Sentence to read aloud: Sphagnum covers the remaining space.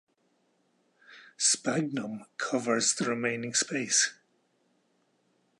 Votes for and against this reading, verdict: 4, 0, accepted